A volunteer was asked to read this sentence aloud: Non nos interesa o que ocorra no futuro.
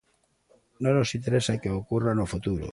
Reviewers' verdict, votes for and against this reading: accepted, 2, 1